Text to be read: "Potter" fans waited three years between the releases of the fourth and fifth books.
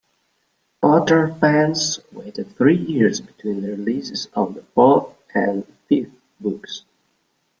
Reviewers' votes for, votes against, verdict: 0, 2, rejected